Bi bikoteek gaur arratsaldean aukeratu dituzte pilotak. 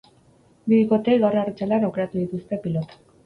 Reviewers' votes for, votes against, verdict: 2, 2, rejected